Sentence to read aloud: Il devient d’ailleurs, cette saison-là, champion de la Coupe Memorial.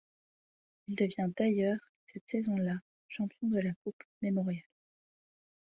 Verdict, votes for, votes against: rejected, 0, 2